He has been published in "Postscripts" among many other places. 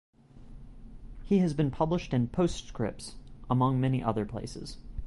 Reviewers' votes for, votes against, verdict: 2, 2, rejected